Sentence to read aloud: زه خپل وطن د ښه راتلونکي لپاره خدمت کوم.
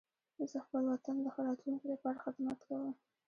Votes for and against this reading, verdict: 2, 0, accepted